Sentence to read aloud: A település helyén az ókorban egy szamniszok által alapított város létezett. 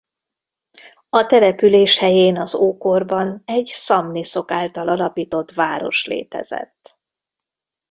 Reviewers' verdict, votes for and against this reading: accepted, 2, 0